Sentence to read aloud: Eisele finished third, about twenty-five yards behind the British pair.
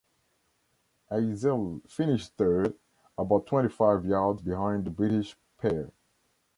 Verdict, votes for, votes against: rejected, 1, 2